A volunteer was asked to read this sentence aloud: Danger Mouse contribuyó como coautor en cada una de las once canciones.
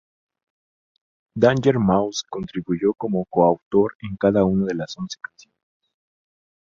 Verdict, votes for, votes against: rejected, 0, 2